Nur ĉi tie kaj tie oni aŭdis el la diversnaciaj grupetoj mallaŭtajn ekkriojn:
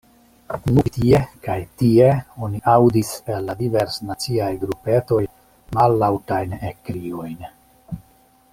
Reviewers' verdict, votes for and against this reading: rejected, 0, 2